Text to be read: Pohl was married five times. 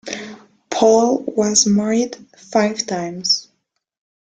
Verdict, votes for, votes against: rejected, 1, 2